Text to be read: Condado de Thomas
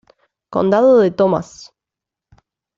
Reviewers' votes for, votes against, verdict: 2, 0, accepted